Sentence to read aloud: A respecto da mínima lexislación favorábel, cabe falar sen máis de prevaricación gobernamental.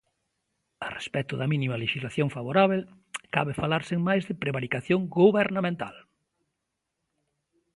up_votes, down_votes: 2, 0